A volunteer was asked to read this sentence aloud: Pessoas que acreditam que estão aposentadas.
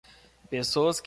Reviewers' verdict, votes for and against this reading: rejected, 0, 2